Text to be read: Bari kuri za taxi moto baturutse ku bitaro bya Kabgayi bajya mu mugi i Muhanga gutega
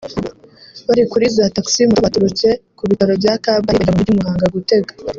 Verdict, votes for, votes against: rejected, 0, 2